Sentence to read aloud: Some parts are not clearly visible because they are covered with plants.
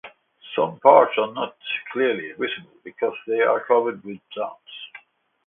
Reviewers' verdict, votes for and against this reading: accepted, 2, 0